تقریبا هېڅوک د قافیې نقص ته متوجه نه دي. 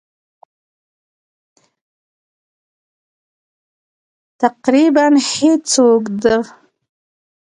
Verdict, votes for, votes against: rejected, 0, 2